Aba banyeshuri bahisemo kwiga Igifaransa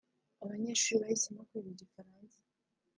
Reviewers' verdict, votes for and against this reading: rejected, 1, 2